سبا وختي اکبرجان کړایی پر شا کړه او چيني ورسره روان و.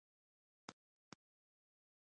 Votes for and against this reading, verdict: 1, 2, rejected